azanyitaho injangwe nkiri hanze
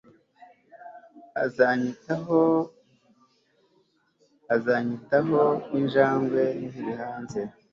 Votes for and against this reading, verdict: 1, 2, rejected